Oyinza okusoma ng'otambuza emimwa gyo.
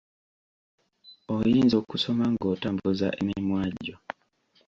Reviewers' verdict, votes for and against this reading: accepted, 2, 1